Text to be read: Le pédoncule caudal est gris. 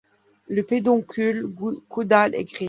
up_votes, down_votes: 2, 1